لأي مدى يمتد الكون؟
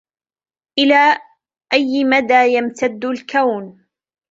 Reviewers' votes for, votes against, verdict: 0, 2, rejected